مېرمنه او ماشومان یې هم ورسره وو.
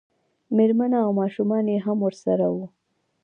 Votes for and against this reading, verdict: 2, 0, accepted